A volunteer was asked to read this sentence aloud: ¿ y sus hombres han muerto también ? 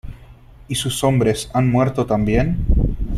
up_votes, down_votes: 3, 0